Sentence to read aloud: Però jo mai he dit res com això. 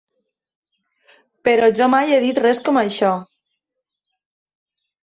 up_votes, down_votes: 3, 0